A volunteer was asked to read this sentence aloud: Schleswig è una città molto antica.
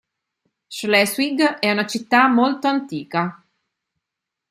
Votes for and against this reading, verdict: 2, 0, accepted